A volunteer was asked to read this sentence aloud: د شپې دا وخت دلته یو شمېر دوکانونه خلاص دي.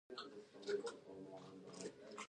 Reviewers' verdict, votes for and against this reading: rejected, 0, 2